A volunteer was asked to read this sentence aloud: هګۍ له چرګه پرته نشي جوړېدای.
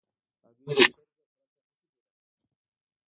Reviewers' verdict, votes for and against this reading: rejected, 0, 2